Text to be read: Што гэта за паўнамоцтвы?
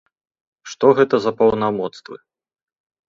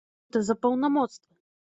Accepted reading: first